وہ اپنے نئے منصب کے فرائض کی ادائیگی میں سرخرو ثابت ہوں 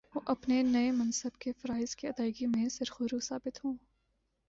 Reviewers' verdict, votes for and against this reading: accepted, 3, 0